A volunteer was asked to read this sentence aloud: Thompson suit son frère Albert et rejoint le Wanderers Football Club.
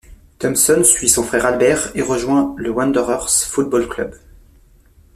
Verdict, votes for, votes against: accepted, 2, 0